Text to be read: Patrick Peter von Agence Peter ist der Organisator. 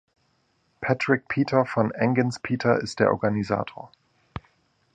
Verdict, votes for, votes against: rejected, 0, 2